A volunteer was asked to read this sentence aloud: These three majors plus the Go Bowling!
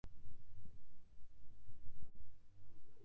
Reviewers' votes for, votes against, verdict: 0, 2, rejected